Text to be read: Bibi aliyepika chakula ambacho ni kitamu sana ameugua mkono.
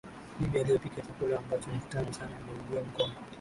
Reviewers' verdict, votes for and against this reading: rejected, 0, 2